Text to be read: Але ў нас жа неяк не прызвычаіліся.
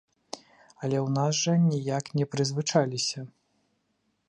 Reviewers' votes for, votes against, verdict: 1, 2, rejected